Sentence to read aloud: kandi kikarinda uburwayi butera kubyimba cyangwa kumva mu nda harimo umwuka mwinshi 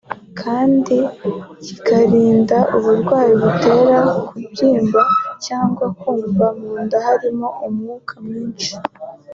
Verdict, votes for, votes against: accepted, 2, 0